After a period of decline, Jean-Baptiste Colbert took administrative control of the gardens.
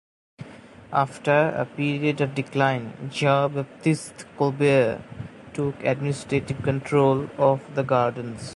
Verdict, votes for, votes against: rejected, 0, 2